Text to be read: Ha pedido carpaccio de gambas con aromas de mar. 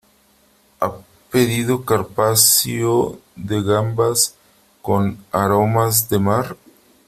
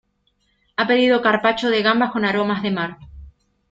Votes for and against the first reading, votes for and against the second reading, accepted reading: 1, 3, 2, 0, second